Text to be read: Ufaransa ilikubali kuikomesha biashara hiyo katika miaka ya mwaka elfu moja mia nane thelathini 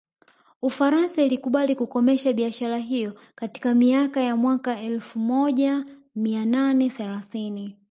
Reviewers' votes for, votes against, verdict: 1, 2, rejected